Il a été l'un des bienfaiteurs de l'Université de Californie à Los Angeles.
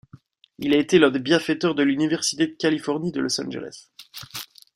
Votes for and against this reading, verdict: 0, 2, rejected